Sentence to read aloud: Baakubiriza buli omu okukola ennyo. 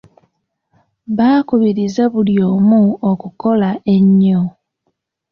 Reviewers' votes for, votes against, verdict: 2, 1, accepted